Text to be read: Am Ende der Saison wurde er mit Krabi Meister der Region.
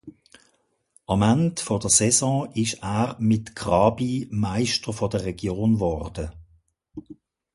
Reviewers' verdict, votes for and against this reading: rejected, 0, 2